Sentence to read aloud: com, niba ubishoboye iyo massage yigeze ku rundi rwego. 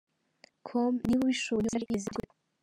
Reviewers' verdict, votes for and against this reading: rejected, 0, 2